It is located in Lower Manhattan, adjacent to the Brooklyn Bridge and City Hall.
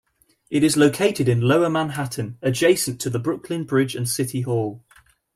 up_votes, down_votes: 2, 0